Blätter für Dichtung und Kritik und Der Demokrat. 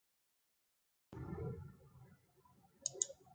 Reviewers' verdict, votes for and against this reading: rejected, 0, 2